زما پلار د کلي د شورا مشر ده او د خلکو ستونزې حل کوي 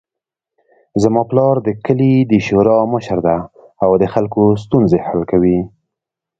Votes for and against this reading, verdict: 2, 0, accepted